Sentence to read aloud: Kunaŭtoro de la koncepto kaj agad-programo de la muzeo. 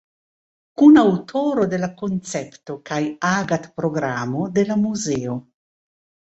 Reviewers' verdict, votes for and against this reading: accepted, 2, 0